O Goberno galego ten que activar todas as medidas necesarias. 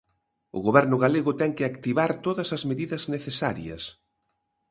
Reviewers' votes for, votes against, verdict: 2, 0, accepted